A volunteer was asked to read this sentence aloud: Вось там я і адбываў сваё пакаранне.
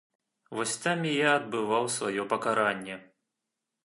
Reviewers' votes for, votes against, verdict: 1, 2, rejected